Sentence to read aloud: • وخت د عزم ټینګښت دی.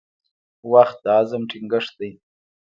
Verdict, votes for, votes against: rejected, 1, 2